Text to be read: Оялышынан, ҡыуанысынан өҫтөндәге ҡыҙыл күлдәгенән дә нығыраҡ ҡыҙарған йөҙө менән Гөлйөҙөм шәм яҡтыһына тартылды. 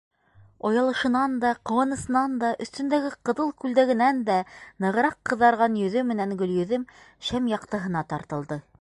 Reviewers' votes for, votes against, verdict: 0, 2, rejected